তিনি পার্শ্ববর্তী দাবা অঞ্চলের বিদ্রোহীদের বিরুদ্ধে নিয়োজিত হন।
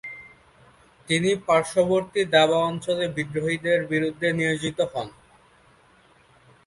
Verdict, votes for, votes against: accepted, 2, 0